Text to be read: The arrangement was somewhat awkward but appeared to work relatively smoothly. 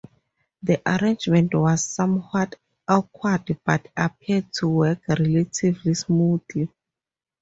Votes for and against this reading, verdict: 2, 0, accepted